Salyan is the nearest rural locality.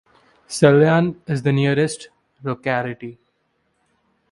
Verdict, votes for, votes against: rejected, 1, 2